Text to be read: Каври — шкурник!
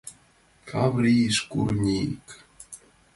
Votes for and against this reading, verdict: 2, 0, accepted